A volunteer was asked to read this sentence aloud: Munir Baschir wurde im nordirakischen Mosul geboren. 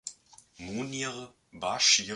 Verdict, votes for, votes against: rejected, 0, 3